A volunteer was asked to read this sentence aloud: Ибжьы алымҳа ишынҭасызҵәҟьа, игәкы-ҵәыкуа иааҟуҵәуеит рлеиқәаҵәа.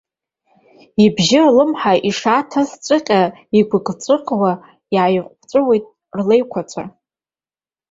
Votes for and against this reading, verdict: 1, 4, rejected